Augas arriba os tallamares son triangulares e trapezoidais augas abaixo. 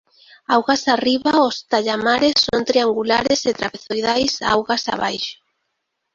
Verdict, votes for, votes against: rejected, 1, 2